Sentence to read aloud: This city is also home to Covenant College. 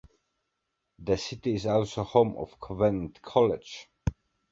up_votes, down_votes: 2, 0